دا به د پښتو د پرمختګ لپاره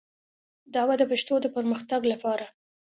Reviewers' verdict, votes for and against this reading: accepted, 2, 0